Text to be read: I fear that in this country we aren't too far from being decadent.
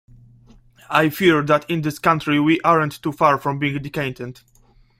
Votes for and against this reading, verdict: 0, 2, rejected